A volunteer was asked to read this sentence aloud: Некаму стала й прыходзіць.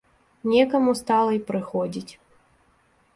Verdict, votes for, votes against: accepted, 2, 0